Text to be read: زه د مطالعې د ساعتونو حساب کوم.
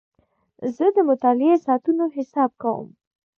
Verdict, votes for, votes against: accepted, 2, 1